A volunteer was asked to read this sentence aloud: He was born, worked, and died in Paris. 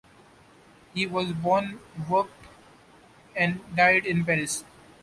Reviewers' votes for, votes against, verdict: 2, 0, accepted